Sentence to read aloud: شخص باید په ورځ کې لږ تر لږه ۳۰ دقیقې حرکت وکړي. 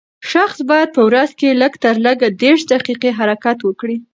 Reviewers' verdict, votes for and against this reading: rejected, 0, 2